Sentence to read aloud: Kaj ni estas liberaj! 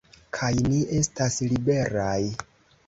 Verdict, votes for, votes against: accepted, 2, 0